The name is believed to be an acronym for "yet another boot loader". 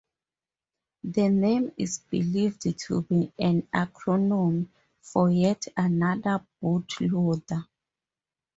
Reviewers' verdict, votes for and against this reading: rejected, 2, 2